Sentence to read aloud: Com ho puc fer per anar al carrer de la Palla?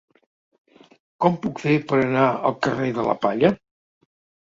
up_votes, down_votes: 1, 2